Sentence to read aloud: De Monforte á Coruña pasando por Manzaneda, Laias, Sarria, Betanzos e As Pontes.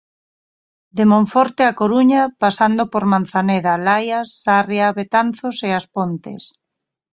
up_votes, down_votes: 4, 0